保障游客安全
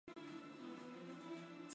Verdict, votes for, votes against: rejected, 0, 2